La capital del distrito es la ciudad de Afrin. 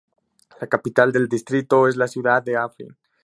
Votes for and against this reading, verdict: 2, 0, accepted